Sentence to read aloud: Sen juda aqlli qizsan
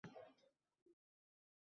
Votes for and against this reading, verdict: 0, 2, rejected